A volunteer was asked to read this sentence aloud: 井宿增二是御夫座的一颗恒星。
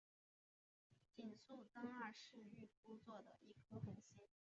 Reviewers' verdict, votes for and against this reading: rejected, 1, 4